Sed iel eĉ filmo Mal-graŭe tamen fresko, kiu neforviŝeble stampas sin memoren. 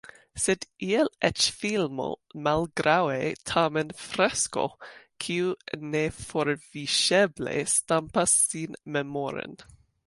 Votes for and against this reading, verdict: 2, 0, accepted